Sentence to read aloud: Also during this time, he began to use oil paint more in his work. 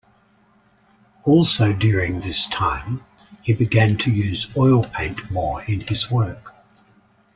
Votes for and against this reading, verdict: 2, 0, accepted